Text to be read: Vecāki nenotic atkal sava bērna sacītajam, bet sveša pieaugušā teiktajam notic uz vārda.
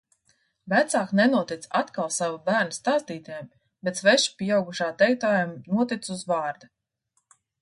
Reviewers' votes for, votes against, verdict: 0, 2, rejected